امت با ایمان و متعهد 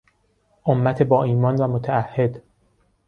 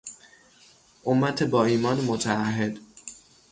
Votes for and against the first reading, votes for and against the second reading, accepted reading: 2, 0, 0, 3, first